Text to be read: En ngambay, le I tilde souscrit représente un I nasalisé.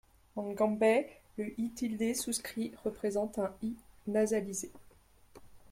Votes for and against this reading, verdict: 1, 2, rejected